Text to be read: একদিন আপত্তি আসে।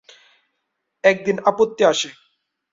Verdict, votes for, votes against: accepted, 10, 1